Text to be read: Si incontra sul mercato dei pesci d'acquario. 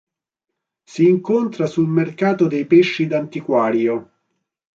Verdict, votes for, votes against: rejected, 0, 3